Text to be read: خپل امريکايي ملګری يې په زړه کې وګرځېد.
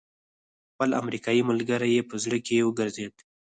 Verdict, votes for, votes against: rejected, 0, 4